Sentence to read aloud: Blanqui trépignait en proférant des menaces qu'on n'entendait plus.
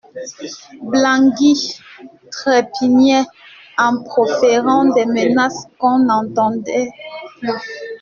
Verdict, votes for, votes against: rejected, 1, 2